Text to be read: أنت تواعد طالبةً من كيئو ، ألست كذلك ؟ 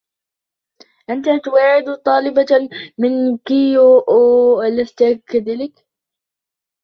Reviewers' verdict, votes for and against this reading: rejected, 0, 2